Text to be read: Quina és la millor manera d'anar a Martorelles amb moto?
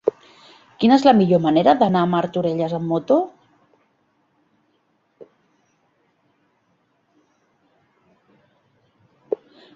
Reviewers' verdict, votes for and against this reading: accepted, 4, 0